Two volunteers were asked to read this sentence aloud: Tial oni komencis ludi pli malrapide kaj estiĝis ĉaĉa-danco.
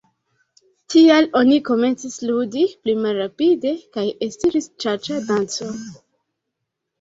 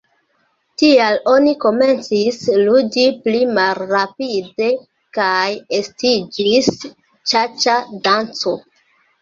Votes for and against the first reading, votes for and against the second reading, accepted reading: 1, 2, 2, 0, second